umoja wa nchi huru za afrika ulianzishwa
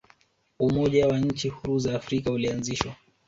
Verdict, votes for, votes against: rejected, 1, 2